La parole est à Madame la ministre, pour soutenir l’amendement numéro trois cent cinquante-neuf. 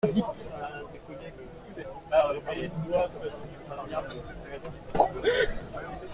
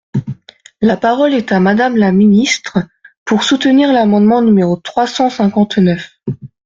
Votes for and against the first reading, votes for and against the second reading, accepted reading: 0, 2, 2, 0, second